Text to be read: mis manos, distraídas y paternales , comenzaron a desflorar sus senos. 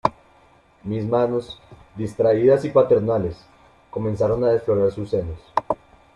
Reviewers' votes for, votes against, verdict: 2, 1, accepted